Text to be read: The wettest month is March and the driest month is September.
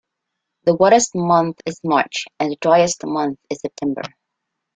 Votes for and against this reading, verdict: 2, 0, accepted